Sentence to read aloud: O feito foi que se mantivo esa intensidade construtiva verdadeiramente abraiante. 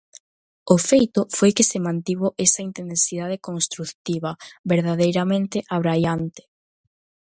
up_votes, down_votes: 1, 2